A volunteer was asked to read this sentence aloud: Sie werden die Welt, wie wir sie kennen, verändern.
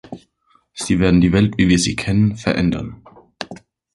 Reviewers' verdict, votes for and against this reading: accepted, 2, 0